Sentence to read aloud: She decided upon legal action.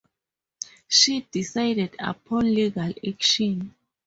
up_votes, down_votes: 2, 2